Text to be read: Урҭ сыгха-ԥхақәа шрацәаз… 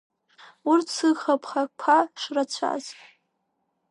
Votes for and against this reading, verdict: 1, 2, rejected